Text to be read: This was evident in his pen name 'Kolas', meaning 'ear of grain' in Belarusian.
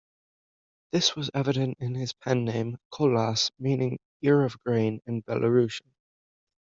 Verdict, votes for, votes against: accepted, 2, 1